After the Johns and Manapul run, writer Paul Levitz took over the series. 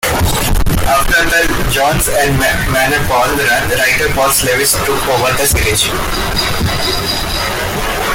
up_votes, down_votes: 1, 2